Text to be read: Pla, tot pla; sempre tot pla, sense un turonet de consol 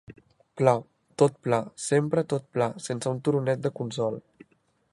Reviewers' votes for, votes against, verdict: 2, 0, accepted